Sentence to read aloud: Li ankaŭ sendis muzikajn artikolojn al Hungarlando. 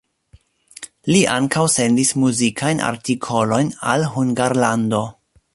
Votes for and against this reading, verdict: 1, 2, rejected